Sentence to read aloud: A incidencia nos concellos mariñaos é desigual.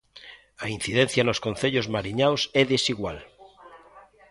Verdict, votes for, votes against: accepted, 2, 0